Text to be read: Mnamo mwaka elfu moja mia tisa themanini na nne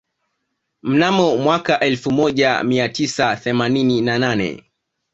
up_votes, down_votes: 1, 2